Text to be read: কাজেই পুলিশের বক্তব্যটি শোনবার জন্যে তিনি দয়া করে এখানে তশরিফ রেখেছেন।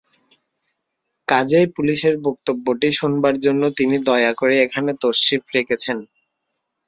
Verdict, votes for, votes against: accepted, 3, 0